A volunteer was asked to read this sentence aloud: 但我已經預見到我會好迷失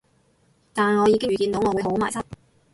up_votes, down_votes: 2, 2